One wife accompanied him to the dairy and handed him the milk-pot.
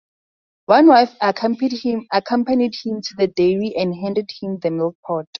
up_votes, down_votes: 6, 2